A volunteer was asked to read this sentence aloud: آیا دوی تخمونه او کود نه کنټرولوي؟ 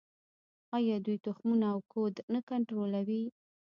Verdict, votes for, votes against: rejected, 1, 2